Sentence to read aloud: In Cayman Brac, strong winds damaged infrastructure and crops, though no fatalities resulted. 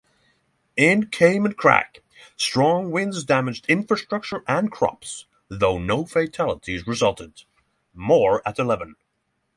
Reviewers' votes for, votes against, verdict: 3, 6, rejected